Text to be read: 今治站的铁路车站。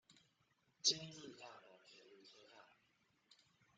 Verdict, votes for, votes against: rejected, 0, 2